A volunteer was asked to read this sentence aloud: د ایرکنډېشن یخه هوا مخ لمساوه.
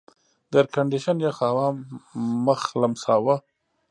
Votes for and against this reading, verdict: 1, 2, rejected